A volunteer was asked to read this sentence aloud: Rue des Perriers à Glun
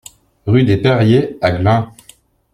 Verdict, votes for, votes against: accepted, 2, 0